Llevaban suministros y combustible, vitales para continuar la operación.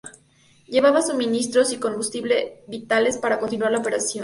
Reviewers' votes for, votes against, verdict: 2, 0, accepted